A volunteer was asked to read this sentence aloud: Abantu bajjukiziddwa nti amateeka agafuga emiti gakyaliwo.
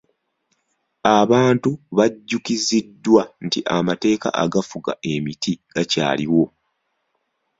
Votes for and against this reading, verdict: 2, 0, accepted